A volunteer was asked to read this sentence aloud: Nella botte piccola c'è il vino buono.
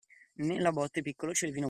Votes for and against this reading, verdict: 0, 2, rejected